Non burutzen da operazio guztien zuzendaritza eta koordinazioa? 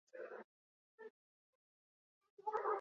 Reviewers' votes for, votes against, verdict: 0, 4, rejected